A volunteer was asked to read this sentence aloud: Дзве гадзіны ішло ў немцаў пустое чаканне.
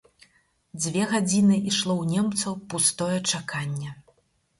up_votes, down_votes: 4, 0